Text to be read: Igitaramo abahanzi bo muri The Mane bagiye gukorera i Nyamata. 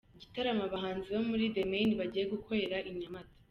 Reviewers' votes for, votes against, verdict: 2, 0, accepted